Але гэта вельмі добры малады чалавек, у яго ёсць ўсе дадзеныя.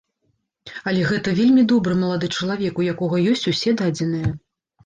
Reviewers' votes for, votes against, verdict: 0, 4, rejected